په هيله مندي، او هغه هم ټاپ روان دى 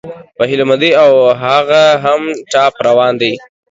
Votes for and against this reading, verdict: 2, 0, accepted